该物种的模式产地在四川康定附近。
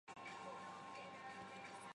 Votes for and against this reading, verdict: 0, 3, rejected